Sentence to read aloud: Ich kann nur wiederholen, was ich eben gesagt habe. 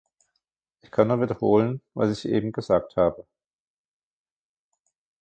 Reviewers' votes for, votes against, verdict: 0, 2, rejected